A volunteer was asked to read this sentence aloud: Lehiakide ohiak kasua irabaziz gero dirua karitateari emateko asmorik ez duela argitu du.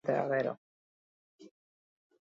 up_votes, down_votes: 2, 0